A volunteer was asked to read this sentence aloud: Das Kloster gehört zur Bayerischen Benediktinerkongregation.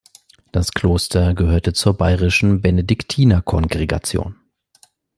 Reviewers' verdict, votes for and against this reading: rejected, 0, 2